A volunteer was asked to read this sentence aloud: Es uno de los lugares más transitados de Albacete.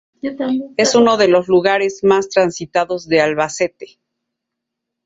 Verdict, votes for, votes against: accepted, 2, 0